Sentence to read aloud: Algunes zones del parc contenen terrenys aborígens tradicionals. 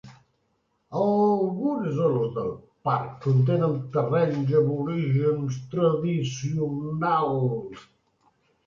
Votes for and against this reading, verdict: 0, 2, rejected